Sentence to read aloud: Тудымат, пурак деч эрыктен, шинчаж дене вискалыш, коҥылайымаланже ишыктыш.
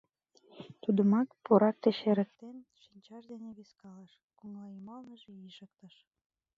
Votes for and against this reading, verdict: 1, 2, rejected